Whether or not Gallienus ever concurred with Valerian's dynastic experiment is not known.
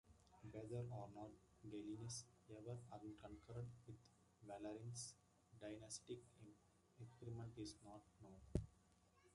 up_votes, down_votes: 0, 2